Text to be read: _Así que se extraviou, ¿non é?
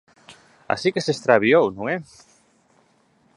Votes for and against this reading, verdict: 23, 1, accepted